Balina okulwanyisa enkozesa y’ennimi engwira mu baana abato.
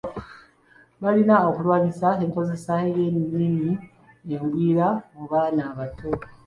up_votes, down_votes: 1, 2